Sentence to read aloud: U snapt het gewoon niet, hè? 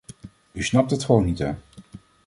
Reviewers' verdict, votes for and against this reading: accepted, 2, 0